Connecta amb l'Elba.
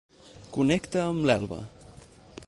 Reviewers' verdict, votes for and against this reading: accepted, 4, 0